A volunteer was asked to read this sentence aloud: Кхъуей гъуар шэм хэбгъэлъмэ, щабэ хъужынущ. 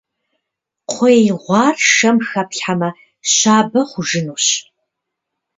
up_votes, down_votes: 1, 2